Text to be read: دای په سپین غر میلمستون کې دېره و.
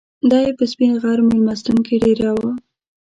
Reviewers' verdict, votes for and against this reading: accepted, 2, 1